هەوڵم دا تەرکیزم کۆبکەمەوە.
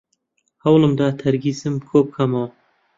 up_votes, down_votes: 2, 0